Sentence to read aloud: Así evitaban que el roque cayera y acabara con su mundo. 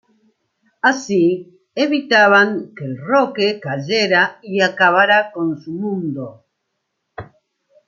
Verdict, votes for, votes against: accepted, 2, 0